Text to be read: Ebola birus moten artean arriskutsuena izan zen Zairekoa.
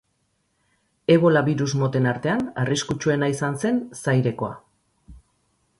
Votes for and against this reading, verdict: 4, 0, accepted